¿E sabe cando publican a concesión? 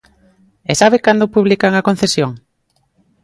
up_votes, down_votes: 2, 0